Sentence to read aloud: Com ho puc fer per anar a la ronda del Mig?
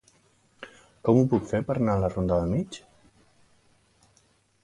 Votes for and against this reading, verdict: 0, 2, rejected